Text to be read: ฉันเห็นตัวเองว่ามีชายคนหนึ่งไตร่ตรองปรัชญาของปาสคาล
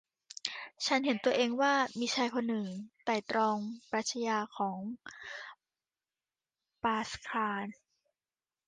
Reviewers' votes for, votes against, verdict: 2, 0, accepted